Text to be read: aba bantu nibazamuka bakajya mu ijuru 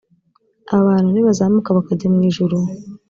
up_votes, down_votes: 2, 1